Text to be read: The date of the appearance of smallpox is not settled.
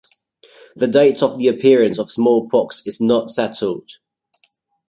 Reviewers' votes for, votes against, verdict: 2, 0, accepted